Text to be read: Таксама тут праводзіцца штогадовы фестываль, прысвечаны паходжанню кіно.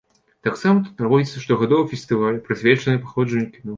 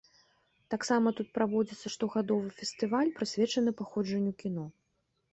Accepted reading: second